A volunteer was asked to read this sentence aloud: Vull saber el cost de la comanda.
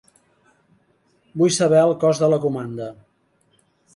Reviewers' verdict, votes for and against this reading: accepted, 2, 0